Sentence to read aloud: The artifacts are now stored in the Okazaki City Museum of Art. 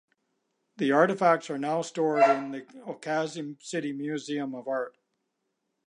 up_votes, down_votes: 0, 2